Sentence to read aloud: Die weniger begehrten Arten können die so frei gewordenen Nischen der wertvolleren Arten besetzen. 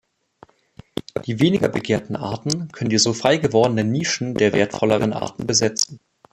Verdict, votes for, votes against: accepted, 3, 0